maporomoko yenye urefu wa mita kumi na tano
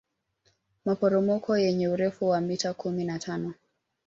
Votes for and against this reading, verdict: 2, 0, accepted